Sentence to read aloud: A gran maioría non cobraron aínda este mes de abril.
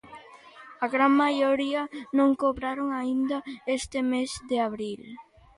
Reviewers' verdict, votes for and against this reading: accepted, 2, 0